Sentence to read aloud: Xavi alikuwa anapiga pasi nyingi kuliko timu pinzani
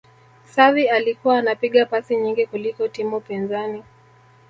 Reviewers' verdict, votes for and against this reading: rejected, 1, 2